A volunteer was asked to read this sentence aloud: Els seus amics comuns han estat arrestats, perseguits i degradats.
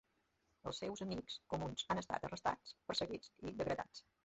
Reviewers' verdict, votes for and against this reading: rejected, 0, 3